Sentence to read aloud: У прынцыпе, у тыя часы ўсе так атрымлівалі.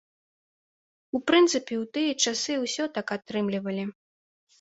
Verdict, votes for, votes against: rejected, 0, 2